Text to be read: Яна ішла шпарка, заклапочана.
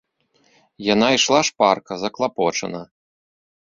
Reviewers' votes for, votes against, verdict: 2, 0, accepted